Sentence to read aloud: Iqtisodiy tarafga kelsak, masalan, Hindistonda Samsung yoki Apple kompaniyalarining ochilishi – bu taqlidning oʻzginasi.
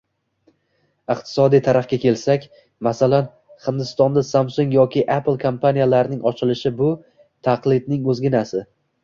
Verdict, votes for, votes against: rejected, 1, 2